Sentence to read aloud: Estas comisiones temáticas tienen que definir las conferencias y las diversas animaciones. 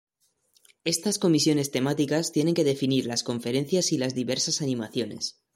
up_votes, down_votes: 2, 0